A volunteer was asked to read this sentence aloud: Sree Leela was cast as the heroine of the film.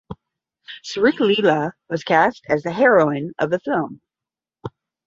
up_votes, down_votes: 5, 0